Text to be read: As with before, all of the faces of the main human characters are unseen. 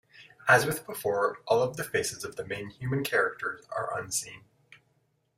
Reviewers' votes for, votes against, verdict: 2, 0, accepted